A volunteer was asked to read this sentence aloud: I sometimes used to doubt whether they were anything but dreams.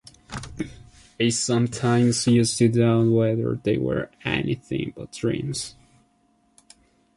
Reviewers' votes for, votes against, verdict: 2, 0, accepted